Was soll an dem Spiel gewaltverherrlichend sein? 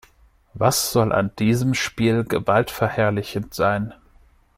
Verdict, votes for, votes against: accepted, 2, 0